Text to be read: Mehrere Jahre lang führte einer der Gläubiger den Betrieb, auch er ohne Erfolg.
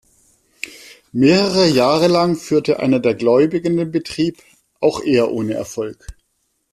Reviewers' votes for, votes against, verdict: 1, 2, rejected